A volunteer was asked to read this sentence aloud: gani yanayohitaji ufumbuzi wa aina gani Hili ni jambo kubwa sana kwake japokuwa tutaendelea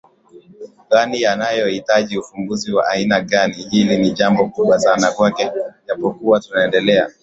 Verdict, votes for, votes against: accepted, 2, 0